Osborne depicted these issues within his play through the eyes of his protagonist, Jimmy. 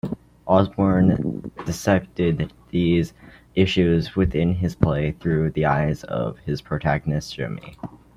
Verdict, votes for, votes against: rejected, 1, 2